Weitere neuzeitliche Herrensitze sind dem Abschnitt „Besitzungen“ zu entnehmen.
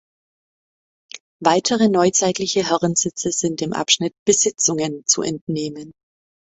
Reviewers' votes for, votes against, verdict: 2, 0, accepted